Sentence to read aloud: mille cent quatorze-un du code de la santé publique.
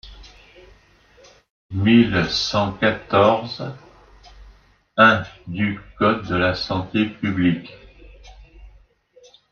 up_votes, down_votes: 0, 2